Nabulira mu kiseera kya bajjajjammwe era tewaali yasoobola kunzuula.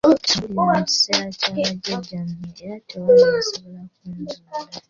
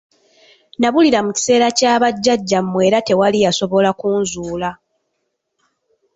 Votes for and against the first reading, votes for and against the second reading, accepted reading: 0, 2, 2, 1, second